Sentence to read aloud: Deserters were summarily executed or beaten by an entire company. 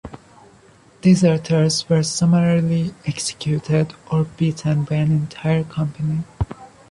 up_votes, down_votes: 2, 0